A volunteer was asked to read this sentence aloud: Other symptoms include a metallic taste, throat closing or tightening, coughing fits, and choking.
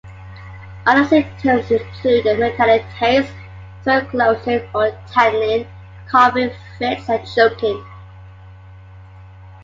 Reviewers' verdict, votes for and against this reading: accepted, 2, 1